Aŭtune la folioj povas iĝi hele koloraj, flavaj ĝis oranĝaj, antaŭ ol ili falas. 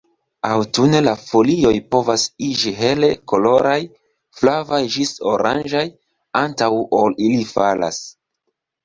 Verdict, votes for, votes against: accepted, 2, 0